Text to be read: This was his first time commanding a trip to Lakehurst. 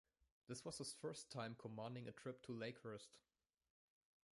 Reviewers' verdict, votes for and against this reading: accepted, 2, 0